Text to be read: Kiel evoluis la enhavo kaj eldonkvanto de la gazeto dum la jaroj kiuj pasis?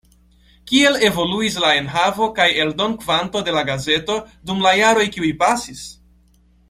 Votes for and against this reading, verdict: 2, 0, accepted